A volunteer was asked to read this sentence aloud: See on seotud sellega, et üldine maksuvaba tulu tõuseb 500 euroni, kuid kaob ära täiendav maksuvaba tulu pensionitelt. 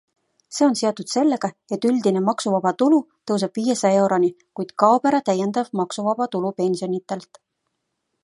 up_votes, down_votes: 0, 2